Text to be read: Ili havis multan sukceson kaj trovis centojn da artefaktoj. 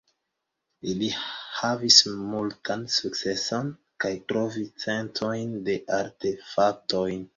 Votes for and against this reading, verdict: 1, 2, rejected